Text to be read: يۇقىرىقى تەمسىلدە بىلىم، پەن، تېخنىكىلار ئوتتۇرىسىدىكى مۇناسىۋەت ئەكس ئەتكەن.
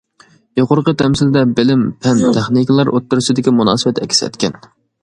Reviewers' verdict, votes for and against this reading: accepted, 2, 0